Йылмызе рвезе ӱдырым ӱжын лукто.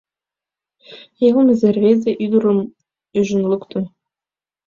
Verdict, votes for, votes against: accepted, 2, 0